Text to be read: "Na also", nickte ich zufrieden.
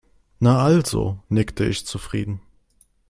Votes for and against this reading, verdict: 2, 0, accepted